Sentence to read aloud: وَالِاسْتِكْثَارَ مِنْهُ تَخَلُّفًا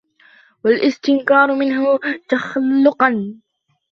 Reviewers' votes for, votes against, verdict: 0, 2, rejected